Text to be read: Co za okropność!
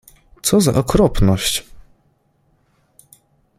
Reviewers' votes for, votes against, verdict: 2, 0, accepted